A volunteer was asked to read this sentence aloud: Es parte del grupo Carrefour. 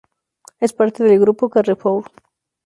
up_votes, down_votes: 2, 0